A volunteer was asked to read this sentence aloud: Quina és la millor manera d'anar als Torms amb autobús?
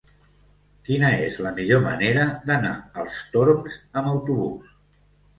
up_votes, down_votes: 0, 2